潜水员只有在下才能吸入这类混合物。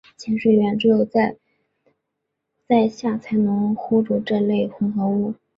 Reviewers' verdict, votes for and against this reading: rejected, 2, 3